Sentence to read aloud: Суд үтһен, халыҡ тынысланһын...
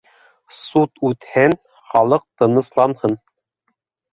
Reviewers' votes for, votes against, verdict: 2, 0, accepted